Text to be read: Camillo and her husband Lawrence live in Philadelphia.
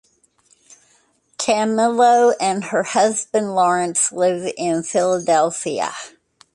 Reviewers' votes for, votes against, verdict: 0, 2, rejected